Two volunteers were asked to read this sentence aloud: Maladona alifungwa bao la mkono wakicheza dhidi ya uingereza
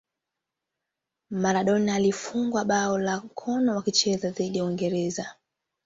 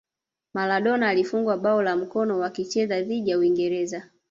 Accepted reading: second